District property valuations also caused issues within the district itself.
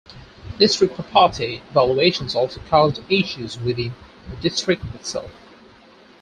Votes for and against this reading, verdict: 4, 0, accepted